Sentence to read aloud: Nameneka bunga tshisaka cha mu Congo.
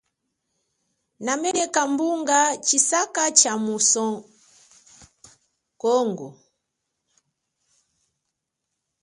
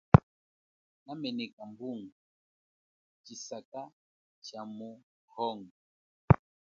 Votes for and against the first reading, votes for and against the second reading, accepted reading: 0, 3, 2, 0, second